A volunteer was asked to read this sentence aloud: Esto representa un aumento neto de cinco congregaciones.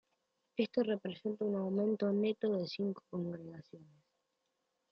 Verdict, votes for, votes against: accepted, 2, 1